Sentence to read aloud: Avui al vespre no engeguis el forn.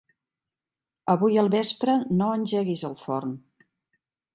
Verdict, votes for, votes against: rejected, 0, 2